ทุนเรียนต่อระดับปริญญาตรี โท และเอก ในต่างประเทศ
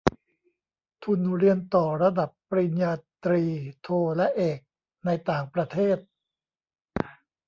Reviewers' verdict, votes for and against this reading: rejected, 0, 2